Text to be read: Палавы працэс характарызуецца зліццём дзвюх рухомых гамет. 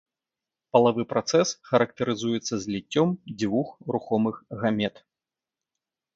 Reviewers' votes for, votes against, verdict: 1, 2, rejected